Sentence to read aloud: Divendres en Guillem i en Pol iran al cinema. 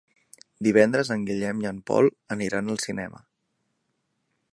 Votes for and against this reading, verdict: 1, 2, rejected